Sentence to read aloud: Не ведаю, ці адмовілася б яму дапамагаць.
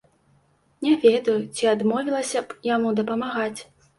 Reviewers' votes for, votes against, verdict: 2, 0, accepted